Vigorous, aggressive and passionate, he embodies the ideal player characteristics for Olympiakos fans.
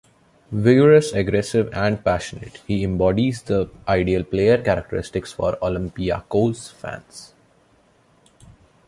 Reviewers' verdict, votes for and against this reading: accepted, 2, 1